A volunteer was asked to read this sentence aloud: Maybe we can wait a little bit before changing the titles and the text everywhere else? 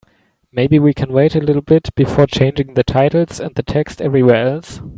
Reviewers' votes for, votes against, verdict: 2, 0, accepted